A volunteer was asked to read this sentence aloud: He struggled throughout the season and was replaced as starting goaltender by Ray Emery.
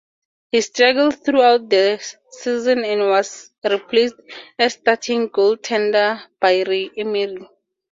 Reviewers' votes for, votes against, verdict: 4, 0, accepted